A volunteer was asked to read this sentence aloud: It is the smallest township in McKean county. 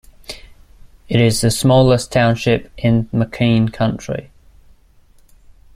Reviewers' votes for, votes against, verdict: 1, 2, rejected